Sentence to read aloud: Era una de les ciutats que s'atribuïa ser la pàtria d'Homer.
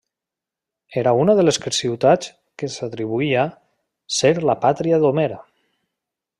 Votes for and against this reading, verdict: 1, 2, rejected